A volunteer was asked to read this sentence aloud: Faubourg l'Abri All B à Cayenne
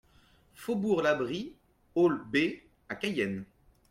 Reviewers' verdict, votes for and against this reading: rejected, 1, 2